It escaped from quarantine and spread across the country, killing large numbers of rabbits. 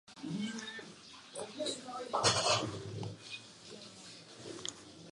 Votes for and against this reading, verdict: 0, 2, rejected